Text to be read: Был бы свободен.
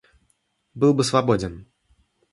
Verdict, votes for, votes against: accepted, 2, 0